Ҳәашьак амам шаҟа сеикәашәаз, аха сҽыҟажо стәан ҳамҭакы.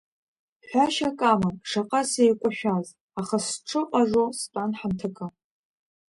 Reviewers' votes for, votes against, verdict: 2, 1, accepted